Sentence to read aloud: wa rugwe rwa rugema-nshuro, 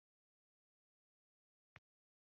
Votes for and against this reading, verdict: 1, 2, rejected